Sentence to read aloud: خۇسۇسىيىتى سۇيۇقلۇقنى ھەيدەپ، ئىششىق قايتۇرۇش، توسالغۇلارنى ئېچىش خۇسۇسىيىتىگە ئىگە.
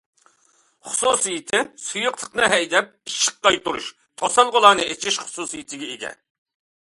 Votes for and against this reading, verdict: 2, 0, accepted